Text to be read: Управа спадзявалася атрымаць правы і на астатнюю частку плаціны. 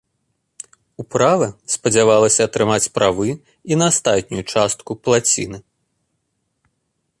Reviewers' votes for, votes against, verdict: 2, 0, accepted